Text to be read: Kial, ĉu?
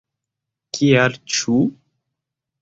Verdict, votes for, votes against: rejected, 0, 2